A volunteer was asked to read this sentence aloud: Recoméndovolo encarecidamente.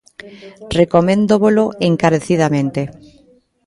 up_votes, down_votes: 1, 2